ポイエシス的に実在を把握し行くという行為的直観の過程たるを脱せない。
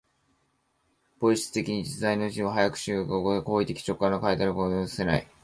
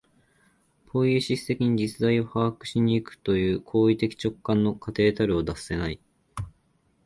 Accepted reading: second